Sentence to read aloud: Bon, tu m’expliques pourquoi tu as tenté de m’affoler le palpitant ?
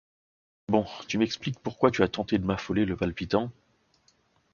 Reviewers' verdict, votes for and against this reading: accepted, 2, 0